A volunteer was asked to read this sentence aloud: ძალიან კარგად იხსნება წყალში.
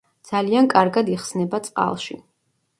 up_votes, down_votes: 2, 0